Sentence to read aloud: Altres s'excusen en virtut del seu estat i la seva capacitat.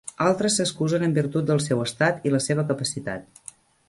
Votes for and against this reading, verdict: 3, 0, accepted